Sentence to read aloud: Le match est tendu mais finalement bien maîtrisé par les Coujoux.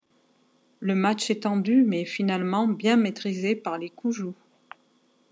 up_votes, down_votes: 2, 0